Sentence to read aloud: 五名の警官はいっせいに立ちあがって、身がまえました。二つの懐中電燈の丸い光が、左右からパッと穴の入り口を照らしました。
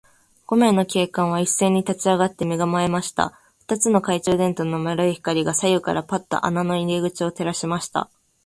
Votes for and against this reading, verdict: 3, 0, accepted